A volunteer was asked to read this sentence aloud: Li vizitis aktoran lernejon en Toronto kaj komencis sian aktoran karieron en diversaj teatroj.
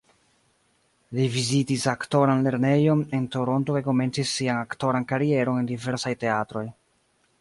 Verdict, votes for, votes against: accepted, 2, 0